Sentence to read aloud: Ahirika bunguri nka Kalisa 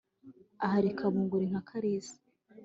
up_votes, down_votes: 5, 0